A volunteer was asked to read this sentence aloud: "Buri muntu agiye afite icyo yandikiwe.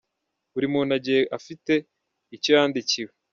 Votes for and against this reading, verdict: 0, 2, rejected